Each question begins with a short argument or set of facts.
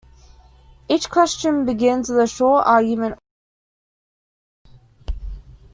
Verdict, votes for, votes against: rejected, 0, 2